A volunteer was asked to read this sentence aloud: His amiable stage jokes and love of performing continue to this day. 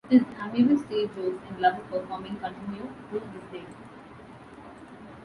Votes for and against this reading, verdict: 1, 2, rejected